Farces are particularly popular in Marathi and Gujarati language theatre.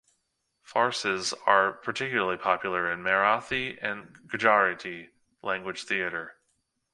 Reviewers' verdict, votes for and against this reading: accepted, 2, 0